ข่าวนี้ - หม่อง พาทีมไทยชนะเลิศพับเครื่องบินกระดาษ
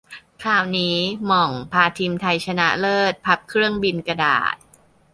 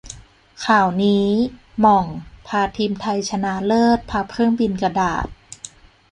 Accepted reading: first